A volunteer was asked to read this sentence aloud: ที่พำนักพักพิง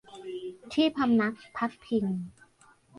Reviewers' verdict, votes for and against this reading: rejected, 1, 2